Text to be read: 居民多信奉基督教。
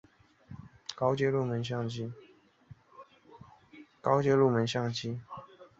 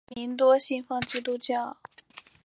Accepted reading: second